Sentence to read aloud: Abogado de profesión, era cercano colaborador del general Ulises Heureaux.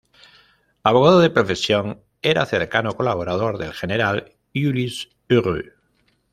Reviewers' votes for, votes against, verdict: 2, 0, accepted